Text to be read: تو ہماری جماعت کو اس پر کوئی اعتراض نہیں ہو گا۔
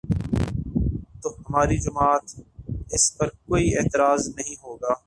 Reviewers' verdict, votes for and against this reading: rejected, 0, 3